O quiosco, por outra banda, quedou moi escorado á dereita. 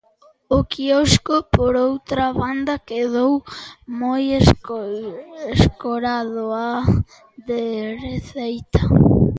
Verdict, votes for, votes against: rejected, 0, 2